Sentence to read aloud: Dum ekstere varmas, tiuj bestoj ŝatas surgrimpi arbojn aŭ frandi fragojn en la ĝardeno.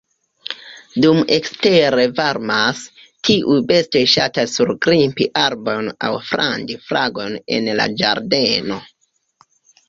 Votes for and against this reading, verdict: 1, 2, rejected